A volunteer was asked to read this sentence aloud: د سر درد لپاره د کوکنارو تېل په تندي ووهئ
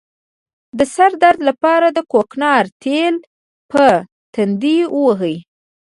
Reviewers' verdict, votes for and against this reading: rejected, 1, 2